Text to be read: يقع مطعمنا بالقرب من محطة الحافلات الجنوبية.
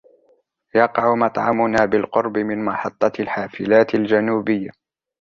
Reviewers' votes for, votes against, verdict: 2, 0, accepted